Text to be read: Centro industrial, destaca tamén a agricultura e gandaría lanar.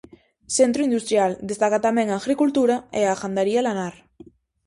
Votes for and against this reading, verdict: 0, 4, rejected